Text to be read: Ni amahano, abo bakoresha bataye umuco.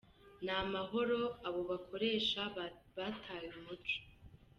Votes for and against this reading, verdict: 1, 2, rejected